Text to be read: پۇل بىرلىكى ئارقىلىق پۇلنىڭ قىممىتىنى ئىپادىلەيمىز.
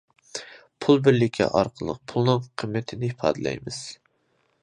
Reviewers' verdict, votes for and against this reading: accepted, 2, 0